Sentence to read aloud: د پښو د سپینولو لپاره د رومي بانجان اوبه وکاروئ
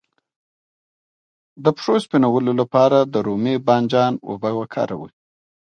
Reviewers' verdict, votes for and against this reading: rejected, 0, 2